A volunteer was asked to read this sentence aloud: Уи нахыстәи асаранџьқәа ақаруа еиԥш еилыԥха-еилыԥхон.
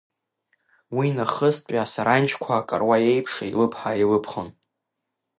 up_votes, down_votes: 1, 2